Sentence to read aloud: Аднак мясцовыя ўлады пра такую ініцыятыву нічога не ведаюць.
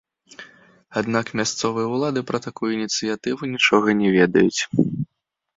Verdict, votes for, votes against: accepted, 2, 0